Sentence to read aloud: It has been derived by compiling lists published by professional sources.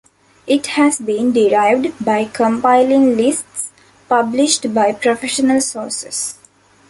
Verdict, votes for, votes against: accepted, 2, 0